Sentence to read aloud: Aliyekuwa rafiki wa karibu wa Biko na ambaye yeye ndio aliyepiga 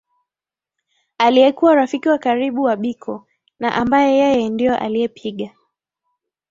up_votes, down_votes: 2, 0